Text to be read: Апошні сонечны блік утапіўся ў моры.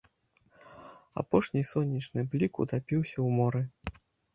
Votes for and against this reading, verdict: 2, 0, accepted